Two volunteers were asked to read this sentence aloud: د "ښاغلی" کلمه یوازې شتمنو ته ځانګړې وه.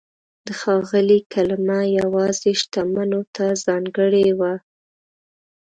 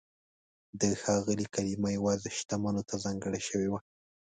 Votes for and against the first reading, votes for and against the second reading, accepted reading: 2, 0, 1, 2, first